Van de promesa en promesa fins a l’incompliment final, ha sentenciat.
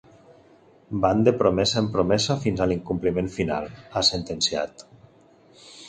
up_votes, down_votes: 2, 0